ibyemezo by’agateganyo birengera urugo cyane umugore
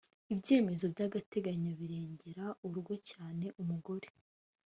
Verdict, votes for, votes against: accepted, 2, 0